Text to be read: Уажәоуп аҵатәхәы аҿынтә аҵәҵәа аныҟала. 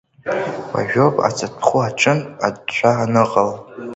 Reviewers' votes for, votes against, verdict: 0, 2, rejected